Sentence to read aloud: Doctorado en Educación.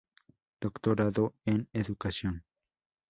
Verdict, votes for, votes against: rejected, 0, 2